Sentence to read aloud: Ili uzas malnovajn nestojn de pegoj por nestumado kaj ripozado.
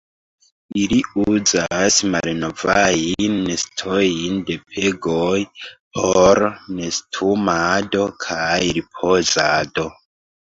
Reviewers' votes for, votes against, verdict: 0, 2, rejected